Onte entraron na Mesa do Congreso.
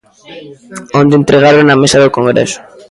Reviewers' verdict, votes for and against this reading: rejected, 1, 2